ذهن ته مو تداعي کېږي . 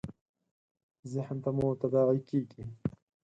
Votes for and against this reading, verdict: 4, 2, accepted